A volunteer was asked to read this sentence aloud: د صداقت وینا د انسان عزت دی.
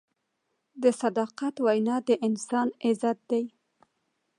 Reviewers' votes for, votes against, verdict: 2, 0, accepted